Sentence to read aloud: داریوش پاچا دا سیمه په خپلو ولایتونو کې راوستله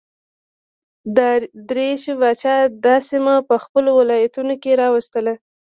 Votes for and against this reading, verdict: 1, 2, rejected